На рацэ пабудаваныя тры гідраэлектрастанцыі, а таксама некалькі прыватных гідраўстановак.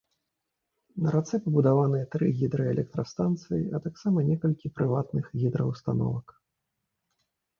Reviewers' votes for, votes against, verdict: 2, 0, accepted